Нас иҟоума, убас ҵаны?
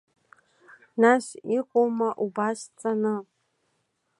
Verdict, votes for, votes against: accepted, 2, 0